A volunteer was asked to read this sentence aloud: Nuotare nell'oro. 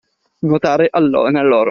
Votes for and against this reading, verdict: 1, 2, rejected